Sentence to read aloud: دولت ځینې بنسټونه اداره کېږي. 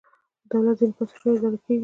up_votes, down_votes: 2, 0